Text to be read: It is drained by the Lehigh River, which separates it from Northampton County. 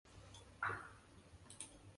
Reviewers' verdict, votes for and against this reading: rejected, 0, 2